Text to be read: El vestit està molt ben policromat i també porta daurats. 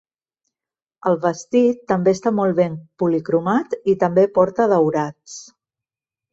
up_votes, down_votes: 1, 2